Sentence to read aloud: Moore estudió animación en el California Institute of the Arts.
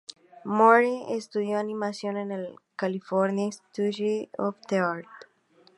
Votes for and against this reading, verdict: 2, 0, accepted